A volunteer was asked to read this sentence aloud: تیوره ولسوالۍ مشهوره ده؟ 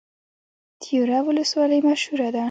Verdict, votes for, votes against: rejected, 0, 2